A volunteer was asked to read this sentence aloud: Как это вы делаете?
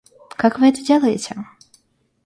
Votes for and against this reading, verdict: 0, 2, rejected